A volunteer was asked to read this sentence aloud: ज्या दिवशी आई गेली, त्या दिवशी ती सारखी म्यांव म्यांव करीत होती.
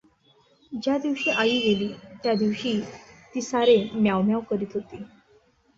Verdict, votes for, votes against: rejected, 1, 2